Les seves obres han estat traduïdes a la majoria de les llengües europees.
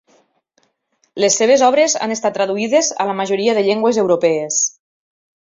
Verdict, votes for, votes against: rejected, 0, 2